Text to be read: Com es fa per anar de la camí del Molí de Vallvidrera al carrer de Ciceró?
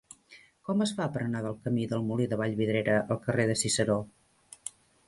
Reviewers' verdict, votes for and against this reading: accepted, 2, 0